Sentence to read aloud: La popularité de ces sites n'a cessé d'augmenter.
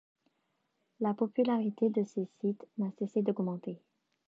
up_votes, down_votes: 2, 0